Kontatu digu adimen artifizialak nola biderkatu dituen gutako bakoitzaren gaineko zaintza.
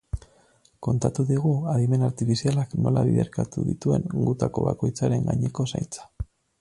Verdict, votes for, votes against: rejected, 2, 2